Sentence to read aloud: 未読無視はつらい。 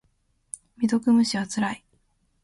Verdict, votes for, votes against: accepted, 2, 0